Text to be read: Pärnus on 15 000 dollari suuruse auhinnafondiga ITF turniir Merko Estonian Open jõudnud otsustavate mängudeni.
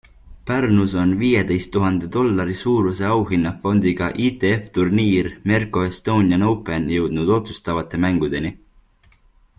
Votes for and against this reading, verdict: 0, 2, rejected